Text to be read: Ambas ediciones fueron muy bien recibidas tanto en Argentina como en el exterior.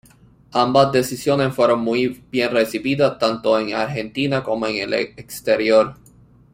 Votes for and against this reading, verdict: 0, 2, rejected